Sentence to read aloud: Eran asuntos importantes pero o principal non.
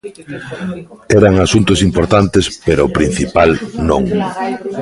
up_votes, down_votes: 1, 2